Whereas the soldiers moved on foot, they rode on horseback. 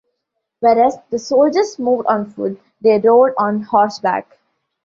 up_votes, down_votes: 2, 0